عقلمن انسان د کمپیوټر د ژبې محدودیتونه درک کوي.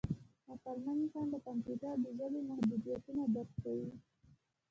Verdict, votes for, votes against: rejected, 0, 2